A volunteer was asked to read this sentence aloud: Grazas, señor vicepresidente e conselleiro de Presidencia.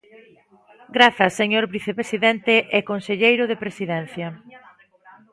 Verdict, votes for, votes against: rejected, 1, 2